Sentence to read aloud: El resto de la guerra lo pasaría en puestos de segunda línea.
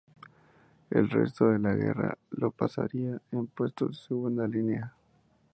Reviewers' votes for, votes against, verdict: 2, 2, rejected